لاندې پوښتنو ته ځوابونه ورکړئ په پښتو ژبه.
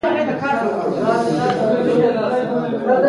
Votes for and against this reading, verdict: 0, 2, rejected